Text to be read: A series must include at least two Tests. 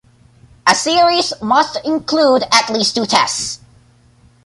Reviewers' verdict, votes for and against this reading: accepted, 2, 0